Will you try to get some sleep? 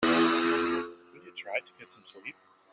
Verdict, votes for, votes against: rejected, 0, 2